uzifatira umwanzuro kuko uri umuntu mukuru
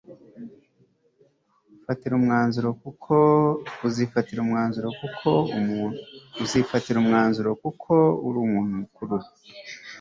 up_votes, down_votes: 1, 2